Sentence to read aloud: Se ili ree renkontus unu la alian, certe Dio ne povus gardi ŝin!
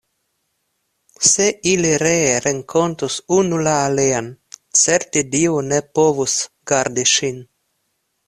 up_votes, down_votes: 2, 0